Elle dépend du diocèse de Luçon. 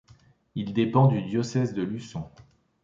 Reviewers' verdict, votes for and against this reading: rejected, 1, 2